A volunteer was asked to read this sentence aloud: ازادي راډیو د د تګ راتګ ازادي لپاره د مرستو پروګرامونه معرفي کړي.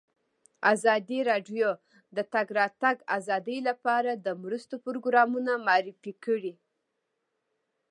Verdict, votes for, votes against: accepted, 2, 1